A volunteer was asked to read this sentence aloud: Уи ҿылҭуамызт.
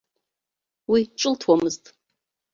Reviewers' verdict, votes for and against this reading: accepted, 2, 0